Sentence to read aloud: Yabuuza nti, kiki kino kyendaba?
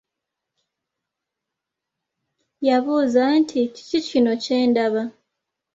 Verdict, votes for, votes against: accepted, 3, 0